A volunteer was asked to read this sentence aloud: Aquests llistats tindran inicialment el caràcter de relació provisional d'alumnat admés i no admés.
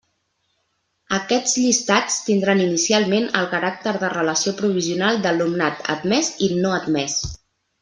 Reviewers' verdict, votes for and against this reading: accepted, 2, 0